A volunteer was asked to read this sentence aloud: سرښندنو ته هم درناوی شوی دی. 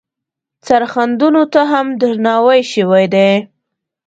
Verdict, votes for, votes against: accepted, 2, 0